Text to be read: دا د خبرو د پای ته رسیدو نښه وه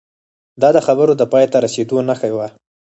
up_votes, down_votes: 2, 4